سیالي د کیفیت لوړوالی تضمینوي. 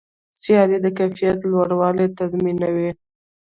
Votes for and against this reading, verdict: 2, 1, accepted